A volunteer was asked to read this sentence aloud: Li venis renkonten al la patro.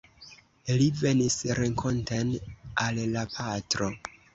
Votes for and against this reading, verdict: 2, 0, accepted